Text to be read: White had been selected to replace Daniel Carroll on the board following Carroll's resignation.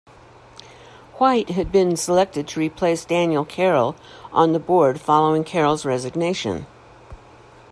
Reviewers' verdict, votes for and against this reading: accepted, 2, 0